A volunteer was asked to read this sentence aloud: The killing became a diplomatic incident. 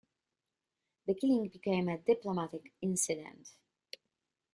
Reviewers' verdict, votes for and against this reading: rejected, 1, 2